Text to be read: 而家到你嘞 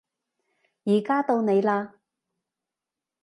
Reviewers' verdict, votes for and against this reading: accepted, 2, 0